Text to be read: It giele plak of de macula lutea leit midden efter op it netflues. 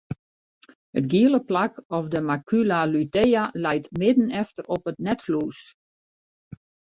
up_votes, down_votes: 0, 2